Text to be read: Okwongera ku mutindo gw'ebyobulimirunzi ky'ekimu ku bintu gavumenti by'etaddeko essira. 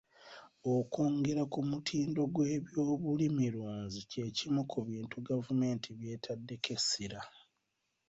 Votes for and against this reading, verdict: 1, 2, rejected